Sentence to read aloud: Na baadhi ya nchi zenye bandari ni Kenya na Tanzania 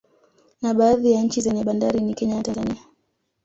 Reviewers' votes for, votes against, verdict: 1, 2, rejected